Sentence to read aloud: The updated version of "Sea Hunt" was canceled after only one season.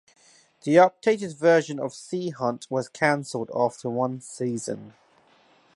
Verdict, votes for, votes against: rejected, 0, 2